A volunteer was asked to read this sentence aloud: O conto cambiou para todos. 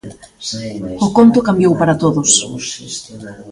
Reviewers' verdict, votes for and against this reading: rejected, 1, 2